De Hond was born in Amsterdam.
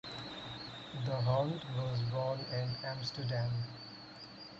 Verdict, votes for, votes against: rejected, 0, 4